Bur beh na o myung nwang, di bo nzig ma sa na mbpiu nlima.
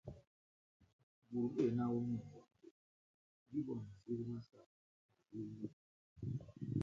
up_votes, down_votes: 0, 3